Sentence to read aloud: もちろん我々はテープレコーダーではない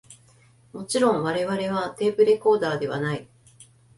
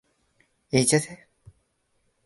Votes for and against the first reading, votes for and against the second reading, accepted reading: 2, 0, 0, 2, first